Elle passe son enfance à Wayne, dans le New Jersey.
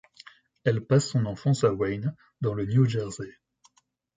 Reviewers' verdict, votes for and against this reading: accepted, 2, 0